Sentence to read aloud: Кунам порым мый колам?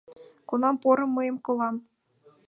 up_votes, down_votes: 0, 2